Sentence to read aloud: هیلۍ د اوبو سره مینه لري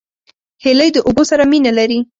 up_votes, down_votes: 2, 0